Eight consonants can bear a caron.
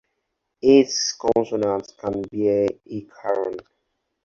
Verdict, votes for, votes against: rejected, 0, 4